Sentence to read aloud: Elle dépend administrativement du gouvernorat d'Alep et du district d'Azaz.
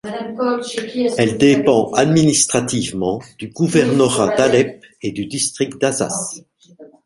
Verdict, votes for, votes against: rejected, 1, 2